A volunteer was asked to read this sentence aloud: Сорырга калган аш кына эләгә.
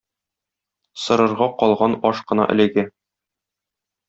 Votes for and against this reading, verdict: 0, 2, rejected